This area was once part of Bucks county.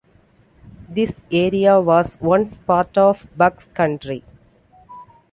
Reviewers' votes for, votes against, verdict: 1, 2, rejected